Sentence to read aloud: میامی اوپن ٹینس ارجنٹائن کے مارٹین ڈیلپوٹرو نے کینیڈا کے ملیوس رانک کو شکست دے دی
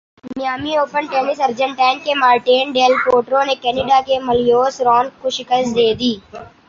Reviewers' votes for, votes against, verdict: 2, 0, accepted